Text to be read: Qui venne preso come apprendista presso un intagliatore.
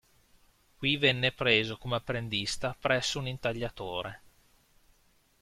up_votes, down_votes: 2, 0